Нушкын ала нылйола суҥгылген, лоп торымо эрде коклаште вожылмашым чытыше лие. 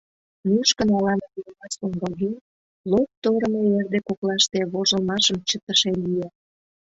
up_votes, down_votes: 0, 2